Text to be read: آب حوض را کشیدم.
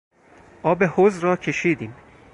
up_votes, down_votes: 0, 4